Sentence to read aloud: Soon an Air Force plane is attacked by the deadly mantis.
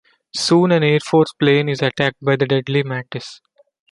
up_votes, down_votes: 2, 0